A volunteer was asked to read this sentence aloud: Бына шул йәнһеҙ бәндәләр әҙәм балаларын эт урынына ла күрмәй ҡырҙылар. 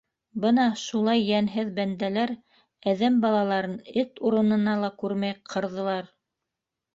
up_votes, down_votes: 0, 2